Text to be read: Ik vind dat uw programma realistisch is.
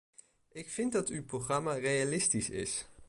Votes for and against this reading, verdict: 1, 2, rejected